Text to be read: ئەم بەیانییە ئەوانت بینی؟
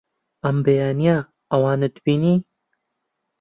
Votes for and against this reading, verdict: 2, 0, accepted